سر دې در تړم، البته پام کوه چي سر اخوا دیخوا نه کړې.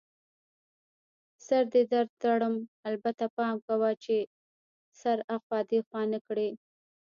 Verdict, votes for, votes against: rejected, 1, 2